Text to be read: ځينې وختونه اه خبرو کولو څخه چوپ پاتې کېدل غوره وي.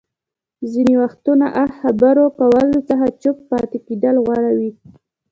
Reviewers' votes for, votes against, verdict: 1, 2, rejected